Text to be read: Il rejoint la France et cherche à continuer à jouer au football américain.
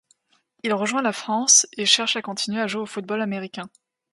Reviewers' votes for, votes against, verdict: 2, 0, accepted